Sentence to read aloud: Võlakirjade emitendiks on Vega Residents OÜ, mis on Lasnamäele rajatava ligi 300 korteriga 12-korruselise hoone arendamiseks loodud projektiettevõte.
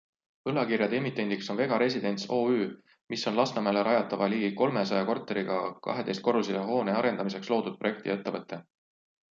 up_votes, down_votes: 0, 2